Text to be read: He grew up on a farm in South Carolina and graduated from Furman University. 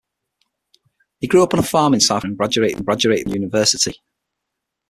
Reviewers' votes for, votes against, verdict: 0, 6, rejected